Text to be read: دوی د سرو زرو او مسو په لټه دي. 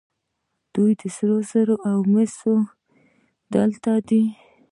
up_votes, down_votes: 1, 2